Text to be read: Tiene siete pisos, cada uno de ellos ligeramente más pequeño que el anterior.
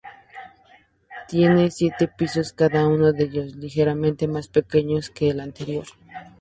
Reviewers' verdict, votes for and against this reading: accepted, 2, 0